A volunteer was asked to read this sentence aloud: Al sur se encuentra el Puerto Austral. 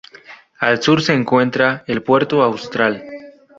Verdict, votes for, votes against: rejected, 0, 2